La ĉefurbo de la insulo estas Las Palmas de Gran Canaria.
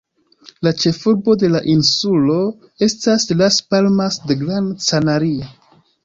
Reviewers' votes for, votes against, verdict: 2, 0, accepted